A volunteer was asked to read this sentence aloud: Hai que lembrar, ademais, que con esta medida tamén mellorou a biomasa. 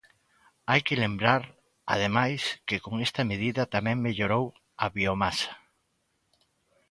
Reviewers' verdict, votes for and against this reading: accepted, 2, 0